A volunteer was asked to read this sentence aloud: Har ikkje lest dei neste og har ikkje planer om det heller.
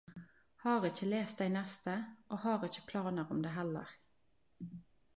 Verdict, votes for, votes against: accepted, 2, 0